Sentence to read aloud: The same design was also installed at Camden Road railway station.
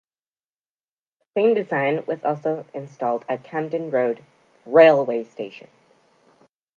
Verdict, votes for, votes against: rejected, 1, 2